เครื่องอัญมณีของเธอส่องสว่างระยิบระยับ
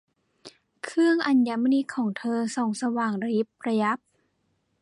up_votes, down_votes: 2, 0